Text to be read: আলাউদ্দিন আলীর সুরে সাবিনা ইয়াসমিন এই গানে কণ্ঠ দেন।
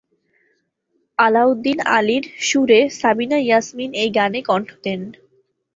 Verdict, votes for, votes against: accepted, 12, 0